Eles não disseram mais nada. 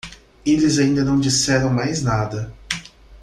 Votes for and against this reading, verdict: 1, 2, rejected